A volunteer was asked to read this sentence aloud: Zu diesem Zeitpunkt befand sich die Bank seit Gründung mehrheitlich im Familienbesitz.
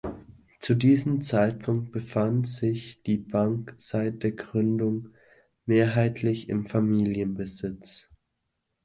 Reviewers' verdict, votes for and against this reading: rejected, 1, 2